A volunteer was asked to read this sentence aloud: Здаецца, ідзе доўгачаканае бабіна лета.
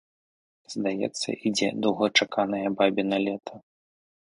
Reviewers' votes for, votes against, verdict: 2, 0, accepted